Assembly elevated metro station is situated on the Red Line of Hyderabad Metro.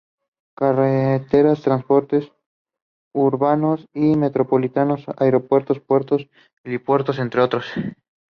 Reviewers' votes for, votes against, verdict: 0, 2, rejected